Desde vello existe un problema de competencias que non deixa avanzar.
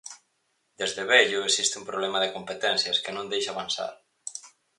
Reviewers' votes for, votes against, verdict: 4, 0, accepted